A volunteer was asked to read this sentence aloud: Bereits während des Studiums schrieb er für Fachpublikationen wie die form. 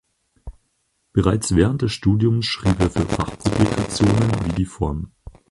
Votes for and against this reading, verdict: 0, 4, rejected